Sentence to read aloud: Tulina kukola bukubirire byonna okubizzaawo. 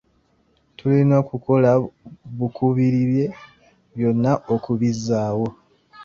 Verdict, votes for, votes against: rejected, 0, 2